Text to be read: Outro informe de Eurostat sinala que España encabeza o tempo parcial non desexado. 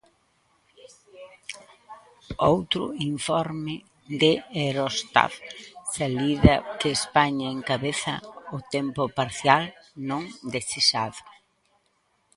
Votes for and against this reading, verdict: 0, 2, rejected